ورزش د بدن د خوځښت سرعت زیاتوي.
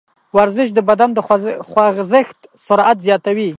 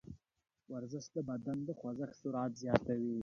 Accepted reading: second